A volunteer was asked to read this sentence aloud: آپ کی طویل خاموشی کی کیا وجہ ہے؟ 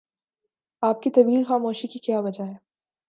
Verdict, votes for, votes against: accepted, 3, 0